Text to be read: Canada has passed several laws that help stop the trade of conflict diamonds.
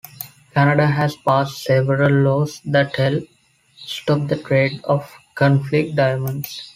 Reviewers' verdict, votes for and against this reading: rejected, 0, 2